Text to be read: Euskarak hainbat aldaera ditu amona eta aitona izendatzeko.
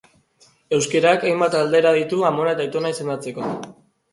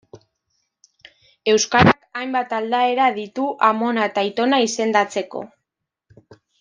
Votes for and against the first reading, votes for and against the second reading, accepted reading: 2, 1, 0, 2, first